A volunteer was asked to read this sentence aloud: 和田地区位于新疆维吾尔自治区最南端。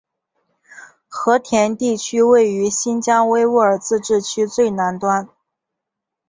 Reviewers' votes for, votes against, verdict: 2, 0, accepted